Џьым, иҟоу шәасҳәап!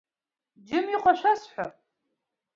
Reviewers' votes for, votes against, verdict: 2, 1, accepted